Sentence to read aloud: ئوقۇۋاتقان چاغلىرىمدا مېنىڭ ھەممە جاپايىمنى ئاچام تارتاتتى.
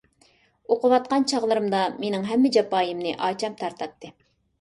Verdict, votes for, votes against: accepted, 3, 0